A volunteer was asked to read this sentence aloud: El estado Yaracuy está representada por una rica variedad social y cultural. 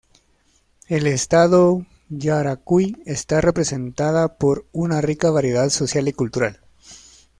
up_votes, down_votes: 2, 0